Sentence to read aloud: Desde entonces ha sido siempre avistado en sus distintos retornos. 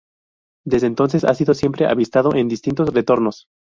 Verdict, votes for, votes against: rejected, 0, 2